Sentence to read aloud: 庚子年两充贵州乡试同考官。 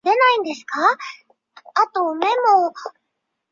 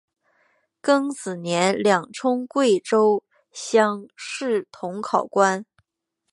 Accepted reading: second